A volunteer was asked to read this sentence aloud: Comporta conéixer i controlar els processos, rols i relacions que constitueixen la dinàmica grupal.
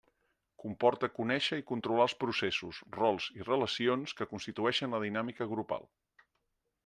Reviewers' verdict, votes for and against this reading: accepted, 3, 0